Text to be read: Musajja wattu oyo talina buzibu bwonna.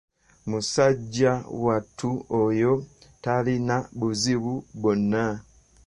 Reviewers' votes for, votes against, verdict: 2, 1, accepted